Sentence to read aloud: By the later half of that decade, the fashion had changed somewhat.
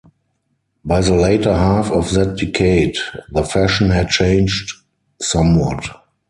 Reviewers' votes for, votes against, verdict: 2, 4, rejected